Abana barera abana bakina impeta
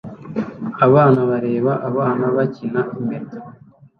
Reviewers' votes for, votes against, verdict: 1, 2, rejected